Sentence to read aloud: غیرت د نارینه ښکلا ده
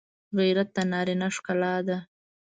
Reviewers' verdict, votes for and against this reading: accepted, 2, 0